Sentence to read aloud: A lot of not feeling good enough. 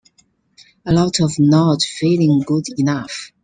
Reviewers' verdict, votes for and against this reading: accepted, 2, 1